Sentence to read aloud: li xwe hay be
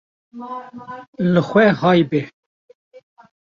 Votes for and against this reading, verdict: 0, 2, rejected